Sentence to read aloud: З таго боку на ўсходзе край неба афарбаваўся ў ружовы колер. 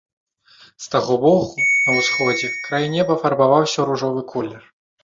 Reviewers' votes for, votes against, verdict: 1, 2, rejected